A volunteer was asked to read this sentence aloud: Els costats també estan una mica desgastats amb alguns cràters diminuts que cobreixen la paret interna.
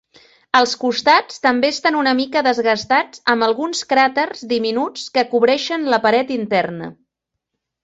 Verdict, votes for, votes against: accepted, 3, 0